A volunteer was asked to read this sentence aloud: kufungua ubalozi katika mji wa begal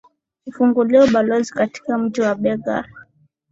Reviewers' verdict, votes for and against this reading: accepted, 3, 1